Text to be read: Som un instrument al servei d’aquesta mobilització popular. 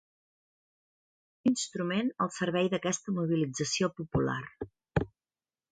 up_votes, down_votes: 0, 2